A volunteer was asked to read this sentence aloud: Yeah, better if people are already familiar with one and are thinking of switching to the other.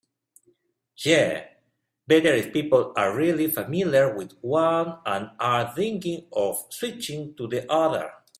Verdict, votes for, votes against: rejected, 1, 2